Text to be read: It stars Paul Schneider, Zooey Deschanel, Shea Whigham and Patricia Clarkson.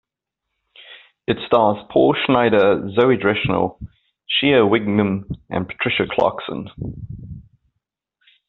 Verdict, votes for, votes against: rejected, 1, 2